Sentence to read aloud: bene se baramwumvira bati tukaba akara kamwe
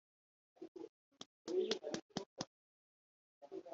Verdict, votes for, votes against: rejected, 0, 3